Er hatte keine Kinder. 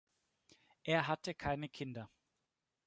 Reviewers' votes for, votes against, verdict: 2, 0, accepted